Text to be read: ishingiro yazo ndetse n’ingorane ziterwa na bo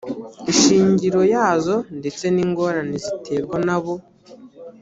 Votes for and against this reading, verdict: 2, 0, accepted